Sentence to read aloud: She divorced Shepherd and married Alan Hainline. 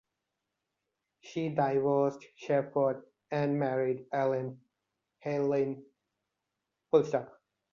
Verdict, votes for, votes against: rejected, 0, 2